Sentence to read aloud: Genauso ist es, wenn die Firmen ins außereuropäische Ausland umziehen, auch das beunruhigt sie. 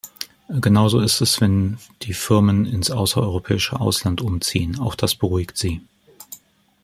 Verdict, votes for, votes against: rejected, 0, 2